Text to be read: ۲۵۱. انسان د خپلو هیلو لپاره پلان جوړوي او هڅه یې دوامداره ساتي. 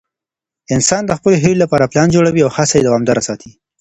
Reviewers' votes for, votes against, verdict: 0, 2, rejected